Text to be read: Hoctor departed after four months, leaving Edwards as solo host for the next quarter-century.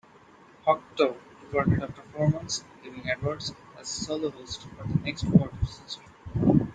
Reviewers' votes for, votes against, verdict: 2, 0, accepted